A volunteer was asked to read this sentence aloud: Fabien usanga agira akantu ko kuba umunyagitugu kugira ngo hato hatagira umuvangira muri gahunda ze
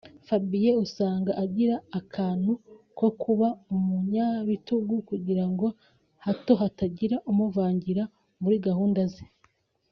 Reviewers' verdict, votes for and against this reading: rejected, 1, 2